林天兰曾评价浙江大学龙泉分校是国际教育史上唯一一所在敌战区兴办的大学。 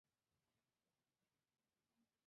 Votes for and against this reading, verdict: 1, 6, rejected